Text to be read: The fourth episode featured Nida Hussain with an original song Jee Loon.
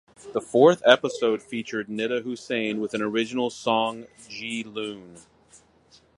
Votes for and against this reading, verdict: 4, 0, accepted